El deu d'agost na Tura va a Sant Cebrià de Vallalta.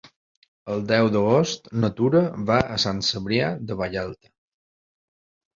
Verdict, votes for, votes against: accepted, 2, 0